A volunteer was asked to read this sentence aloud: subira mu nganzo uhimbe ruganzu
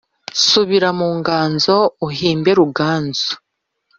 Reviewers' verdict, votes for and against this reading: accepted, 2, 0